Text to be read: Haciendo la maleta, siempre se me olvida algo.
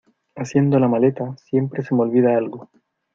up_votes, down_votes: 2, 1